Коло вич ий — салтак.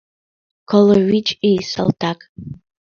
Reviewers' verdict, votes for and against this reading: accepted, 2, 0